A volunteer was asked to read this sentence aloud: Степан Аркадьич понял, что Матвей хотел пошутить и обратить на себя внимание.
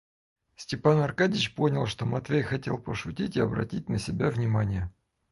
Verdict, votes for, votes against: accepted, 4, 0